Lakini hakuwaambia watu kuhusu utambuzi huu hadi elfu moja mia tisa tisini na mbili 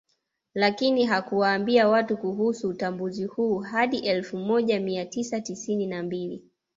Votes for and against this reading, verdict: 2, 1, accepted